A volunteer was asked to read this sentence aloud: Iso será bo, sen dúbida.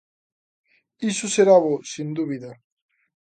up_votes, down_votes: 2, 0